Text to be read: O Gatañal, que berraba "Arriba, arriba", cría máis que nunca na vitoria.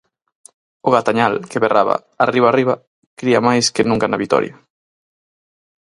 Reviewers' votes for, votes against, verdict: 4, 0, accepted